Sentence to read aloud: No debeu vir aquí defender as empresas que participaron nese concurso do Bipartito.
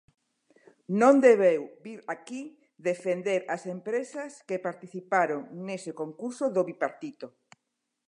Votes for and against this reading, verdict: 1, 2, rejected